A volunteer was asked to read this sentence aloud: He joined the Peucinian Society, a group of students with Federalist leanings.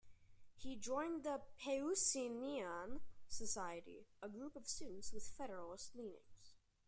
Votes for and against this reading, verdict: 1, 2, rejected